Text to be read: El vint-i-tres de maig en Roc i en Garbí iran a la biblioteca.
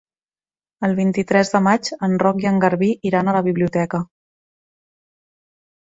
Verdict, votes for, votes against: accepted, 4, 0